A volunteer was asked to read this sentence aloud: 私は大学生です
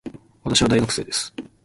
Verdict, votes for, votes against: rejected, 1, 2